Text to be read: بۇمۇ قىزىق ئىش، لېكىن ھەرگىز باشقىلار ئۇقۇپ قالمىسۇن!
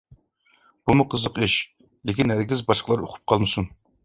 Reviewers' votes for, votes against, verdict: 2, 0, accepted